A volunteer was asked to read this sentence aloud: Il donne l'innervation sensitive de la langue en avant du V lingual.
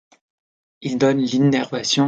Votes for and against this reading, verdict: 0, 2, rejected